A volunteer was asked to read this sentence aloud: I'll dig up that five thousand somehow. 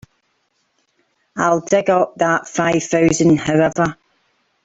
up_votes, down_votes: 0, 2